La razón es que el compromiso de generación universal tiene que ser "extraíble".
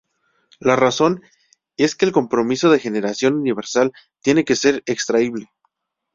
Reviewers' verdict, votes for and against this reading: accepted, 2, 0